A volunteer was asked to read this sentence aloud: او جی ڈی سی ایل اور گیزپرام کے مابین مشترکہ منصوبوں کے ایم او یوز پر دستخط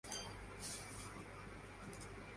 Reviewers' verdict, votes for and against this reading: rejected, 0, 2